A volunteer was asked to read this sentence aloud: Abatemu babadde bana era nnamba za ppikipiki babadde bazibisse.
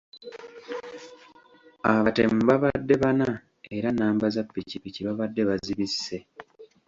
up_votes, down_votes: 2, 0